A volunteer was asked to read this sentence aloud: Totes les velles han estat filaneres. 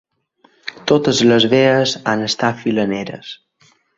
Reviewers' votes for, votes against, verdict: 0, 2, rejected